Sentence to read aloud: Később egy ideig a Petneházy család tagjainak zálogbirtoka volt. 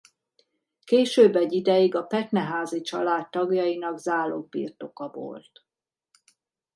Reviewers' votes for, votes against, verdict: 2, 0, accepted